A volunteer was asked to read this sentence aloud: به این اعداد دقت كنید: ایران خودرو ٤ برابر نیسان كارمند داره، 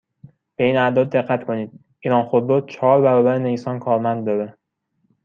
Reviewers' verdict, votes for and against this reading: rejected, 0, 2